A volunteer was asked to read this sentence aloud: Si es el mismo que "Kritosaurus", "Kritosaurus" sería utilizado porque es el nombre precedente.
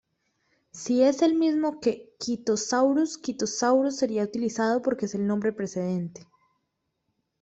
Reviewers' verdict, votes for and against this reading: accepted, 2, 1